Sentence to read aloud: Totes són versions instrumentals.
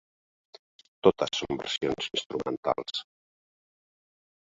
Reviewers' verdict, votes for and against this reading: accepted, 3, 1